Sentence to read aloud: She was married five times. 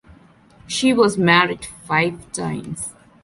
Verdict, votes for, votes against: accepted, 2, 0